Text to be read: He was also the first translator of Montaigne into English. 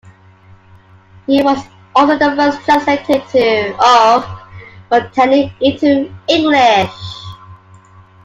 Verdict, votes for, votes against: rejected, 0, 2